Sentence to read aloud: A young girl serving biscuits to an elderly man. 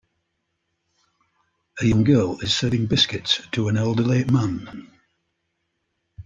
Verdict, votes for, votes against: rejected, 1, 2